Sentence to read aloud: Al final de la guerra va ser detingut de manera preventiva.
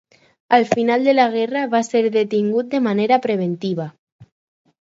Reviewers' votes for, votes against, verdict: 4, 0, accepted